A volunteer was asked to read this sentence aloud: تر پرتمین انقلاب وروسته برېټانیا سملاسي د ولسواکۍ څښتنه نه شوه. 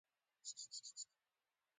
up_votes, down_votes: 0, 2